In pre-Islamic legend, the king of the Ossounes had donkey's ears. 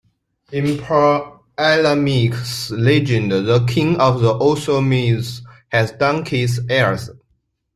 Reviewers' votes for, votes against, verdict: 0, 2, rejected